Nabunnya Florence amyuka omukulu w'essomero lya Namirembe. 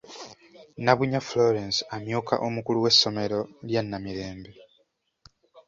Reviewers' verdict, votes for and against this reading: accepted, 2, 0